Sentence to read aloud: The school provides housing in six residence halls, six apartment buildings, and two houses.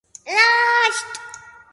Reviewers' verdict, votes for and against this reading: rejected, 0, 2